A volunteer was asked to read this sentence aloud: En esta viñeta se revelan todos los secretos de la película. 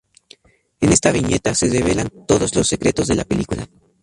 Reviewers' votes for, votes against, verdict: 0, 2, rejected